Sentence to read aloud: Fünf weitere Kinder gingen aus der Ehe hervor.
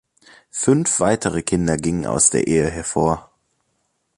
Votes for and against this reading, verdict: 2, 0, accepted